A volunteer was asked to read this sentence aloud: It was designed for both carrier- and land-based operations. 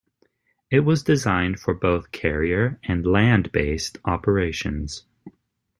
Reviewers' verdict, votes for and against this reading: accepted, 2, 0